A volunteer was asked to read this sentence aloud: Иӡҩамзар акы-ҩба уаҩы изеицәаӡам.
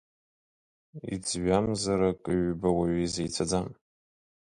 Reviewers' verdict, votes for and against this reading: accepted, 2, 1